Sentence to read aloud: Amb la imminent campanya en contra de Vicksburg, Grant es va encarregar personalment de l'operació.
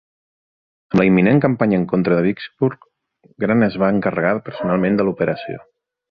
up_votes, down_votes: 2, 3